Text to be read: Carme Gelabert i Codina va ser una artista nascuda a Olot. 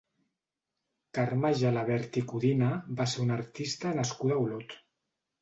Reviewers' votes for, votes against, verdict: 3, 0, accepted